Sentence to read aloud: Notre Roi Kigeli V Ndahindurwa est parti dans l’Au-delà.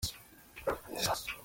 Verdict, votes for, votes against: rejected, 0, 2